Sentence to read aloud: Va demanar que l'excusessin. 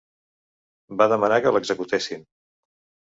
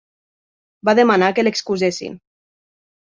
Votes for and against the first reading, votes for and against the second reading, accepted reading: 1, 2, 3, 0, second